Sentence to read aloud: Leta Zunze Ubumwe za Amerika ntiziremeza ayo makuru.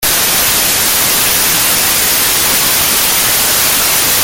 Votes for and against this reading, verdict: 0, 2, rejected